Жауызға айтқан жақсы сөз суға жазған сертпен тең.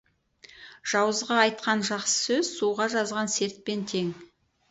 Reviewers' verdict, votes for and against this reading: rejected, 2, 2